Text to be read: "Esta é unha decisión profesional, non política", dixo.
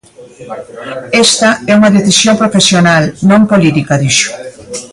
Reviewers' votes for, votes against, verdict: 0, 2, rejected